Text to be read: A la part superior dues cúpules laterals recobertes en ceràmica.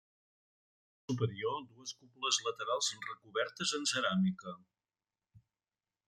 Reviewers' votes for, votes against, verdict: 0, 2, rejected